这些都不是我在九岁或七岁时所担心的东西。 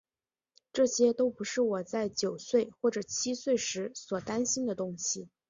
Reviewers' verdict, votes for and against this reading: accepted, 3, 0